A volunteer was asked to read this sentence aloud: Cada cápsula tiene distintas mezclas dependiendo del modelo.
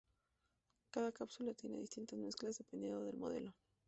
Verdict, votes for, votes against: rejected, 0, 2